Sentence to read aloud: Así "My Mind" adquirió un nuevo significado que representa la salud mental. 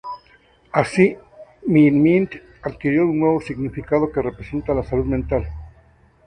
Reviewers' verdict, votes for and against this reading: rejected, 0, 2